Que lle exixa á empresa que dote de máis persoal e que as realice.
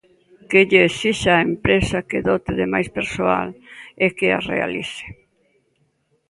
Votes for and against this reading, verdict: 2, 0, accepted